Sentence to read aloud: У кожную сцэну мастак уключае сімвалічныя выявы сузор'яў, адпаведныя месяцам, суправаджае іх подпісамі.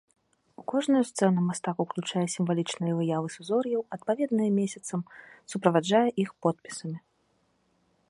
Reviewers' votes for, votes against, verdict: 2, 0, accepted